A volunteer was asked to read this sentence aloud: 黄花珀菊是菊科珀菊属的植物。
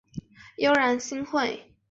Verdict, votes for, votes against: rejected, 0, 2